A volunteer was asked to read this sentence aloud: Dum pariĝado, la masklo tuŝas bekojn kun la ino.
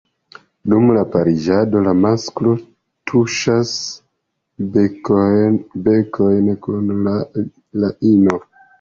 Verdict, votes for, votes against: rejected, 0, 2